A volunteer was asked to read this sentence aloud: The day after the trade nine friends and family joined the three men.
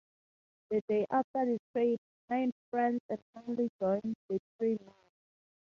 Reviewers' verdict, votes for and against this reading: rejected, 0, 2